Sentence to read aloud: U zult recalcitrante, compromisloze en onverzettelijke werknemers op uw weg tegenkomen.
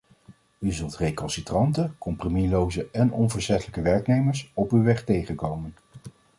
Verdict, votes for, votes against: accepted, 2, 0